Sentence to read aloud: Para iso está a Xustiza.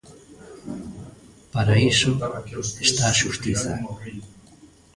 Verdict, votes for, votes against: rejected, 0, 2